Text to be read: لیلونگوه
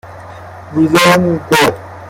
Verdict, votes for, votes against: rejected, 0, 2